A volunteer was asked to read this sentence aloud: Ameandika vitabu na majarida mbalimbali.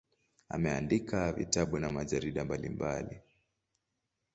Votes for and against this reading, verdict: 2, 0, accepted